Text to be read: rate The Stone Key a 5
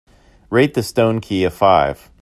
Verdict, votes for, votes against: rejected, 0, 2